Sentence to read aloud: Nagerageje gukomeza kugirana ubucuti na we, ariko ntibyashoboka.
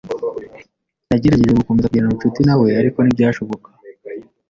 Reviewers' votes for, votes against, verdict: 1, 2, rejected